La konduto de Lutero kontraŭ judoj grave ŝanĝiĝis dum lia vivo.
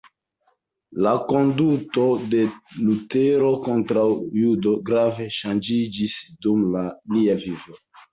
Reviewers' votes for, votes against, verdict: 1, 3, rejected